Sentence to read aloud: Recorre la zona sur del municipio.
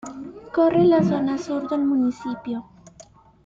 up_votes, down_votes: 1, 2